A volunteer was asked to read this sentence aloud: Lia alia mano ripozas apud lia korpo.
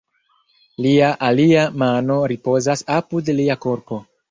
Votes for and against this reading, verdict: 2, 0, accepted